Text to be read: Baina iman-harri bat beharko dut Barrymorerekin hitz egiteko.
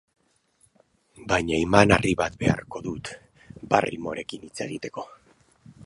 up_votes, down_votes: 2, 2